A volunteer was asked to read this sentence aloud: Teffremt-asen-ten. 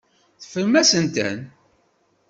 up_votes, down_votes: 1, 2